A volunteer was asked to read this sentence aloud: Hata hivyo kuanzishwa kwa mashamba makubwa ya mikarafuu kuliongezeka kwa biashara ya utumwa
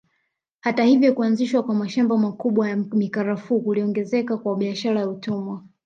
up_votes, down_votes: 1, 2